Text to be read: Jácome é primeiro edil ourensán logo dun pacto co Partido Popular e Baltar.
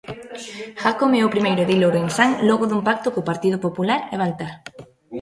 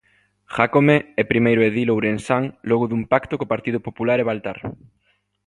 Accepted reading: second